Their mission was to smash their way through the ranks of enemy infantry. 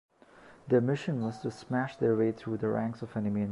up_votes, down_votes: 0, 2